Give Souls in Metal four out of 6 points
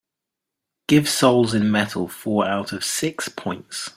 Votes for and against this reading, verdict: 0, 2, rejected